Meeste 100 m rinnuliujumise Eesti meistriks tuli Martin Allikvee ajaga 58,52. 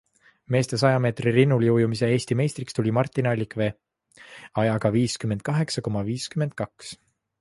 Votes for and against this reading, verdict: 0, 2, rejected